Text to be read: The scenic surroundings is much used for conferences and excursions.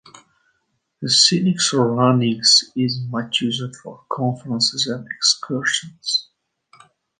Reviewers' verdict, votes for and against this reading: accepted, 2, 0